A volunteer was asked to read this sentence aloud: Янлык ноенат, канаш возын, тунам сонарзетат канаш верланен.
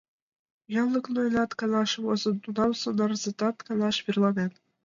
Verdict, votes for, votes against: accepted, 2, 1